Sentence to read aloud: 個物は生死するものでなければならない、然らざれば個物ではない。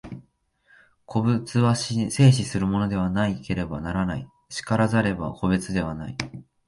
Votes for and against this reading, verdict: 1, 2, rejected